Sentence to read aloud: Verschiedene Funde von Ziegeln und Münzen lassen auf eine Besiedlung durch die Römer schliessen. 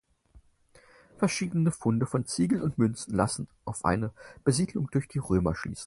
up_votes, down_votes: 4, 0